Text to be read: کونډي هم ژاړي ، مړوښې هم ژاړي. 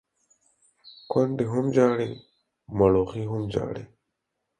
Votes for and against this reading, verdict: 4, 0, accepted